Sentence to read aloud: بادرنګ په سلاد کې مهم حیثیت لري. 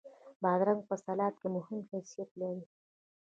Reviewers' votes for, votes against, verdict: 2, 1, accepted